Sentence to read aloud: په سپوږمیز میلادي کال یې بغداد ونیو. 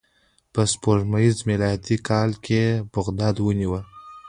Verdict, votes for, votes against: accepted, 2, 0